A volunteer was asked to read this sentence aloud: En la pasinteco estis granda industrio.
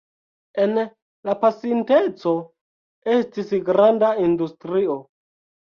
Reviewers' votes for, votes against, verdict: 1, 2, rejected